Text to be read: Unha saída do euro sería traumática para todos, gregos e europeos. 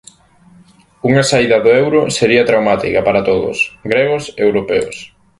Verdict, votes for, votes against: accepted, 2, 0